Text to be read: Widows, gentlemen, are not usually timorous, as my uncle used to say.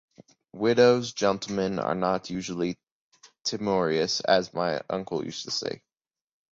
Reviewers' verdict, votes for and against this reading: rejected, 0, 2